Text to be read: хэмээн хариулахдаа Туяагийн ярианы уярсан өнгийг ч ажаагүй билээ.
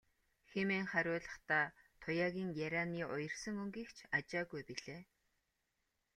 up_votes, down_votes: 2, 1